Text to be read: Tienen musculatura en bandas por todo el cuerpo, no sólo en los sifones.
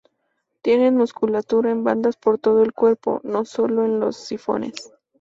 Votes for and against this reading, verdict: 2, 0, accepted